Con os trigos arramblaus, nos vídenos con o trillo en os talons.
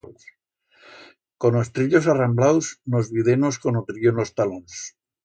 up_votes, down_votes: 1, 2